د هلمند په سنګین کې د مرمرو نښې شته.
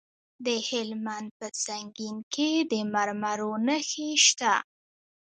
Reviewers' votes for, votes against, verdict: 1, 2, rejected